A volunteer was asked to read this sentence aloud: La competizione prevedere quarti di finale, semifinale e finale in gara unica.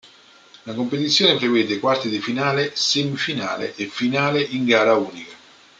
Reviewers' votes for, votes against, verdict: 0, 2, rejected